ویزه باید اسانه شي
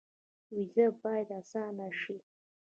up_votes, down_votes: 0, 2